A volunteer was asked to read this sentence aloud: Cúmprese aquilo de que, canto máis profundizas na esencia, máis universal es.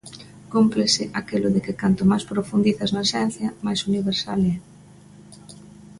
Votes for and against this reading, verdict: 0, 2, rejected